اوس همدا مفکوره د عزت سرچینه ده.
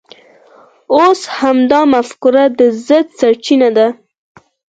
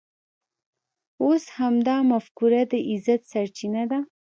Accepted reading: first